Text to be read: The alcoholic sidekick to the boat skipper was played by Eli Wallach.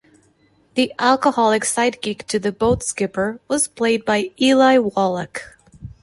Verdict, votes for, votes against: accepted, 2, 0